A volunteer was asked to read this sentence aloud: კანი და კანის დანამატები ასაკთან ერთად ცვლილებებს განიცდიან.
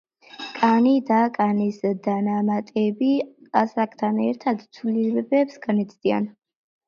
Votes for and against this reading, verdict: 2, 0, accepted